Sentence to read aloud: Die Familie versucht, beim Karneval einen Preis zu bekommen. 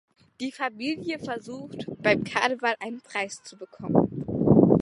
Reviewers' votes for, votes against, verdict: 2, 0, accepted